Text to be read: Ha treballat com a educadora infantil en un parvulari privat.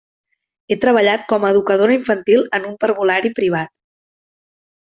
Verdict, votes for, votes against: rejected, 0, 2